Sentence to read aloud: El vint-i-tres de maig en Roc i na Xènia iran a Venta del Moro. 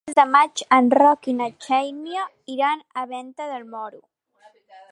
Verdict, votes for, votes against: rejected, 1, 3